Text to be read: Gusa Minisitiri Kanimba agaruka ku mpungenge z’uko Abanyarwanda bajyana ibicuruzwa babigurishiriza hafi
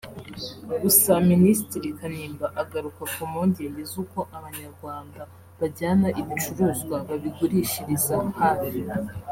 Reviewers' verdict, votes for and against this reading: accepted, 3, 0